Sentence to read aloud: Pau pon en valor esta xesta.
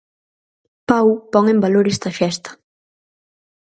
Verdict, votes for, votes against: accepted, 4, 0